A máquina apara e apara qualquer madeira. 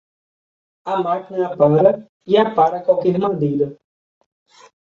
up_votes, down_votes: 1, 2